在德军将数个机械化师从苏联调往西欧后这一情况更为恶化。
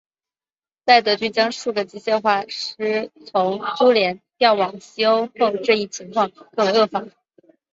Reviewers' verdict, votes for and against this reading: rejected, 0, 3